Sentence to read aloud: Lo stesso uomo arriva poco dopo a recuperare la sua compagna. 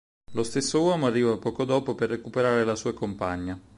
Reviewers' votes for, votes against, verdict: 2, 4, rejected